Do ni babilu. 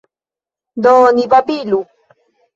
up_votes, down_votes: 2, 0